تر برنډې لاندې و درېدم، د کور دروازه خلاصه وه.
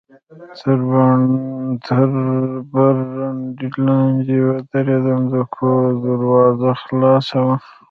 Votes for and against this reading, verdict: 0, 2, rejected